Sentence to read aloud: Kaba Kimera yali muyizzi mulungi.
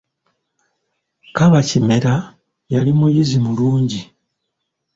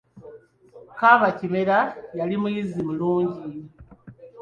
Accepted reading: second